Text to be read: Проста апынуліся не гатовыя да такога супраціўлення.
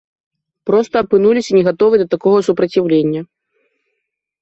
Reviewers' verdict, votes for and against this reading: accepted, 2, 0